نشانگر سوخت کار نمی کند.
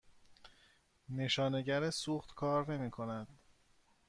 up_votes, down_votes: 2, 0